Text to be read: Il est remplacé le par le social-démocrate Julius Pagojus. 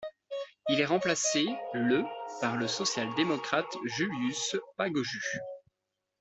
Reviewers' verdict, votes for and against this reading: accepted, 2, 0